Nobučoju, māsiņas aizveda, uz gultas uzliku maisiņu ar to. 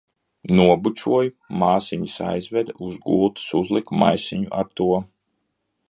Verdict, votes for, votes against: accepted, 2, 0